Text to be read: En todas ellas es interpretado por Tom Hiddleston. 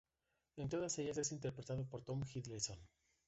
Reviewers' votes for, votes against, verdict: 2, 1, accepted